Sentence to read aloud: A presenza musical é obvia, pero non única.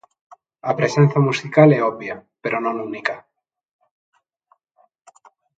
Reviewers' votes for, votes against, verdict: 3, 0, accepted